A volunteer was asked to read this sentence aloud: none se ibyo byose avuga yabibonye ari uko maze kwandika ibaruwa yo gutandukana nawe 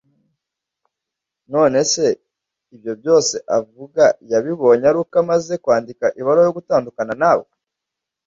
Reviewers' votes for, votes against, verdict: 1, 2, rejected